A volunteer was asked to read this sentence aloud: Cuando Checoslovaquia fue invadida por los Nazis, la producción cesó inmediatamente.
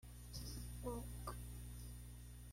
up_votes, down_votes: 0, 2